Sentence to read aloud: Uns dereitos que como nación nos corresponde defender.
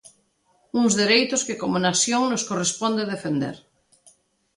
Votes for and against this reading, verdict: 2, 0, accepted